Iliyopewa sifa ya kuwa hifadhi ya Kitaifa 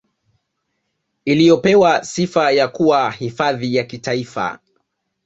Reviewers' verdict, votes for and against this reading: accepted, 2, 0